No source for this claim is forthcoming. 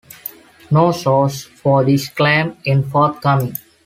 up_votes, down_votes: 0, 2